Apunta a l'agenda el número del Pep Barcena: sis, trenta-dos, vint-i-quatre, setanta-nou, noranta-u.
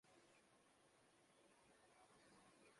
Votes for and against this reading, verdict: 0, 2, rejected